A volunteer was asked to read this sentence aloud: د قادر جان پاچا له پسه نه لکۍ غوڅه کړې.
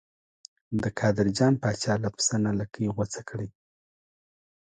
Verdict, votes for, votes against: rejected, 1, 2